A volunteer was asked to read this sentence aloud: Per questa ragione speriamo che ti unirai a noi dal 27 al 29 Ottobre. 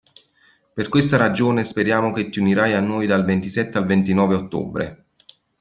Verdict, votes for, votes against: rejected, 0, 2